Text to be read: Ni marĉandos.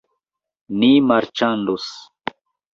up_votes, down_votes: 2, 0